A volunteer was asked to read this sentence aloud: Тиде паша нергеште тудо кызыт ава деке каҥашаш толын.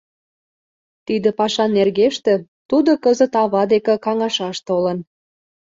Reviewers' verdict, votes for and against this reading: accepted, 2, 0